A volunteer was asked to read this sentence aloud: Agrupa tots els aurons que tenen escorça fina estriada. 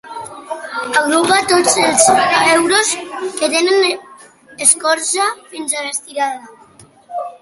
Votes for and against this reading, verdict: 1, 2, rejected